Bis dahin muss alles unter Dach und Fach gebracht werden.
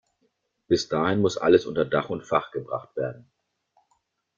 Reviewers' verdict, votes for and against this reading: accepted, 2, 0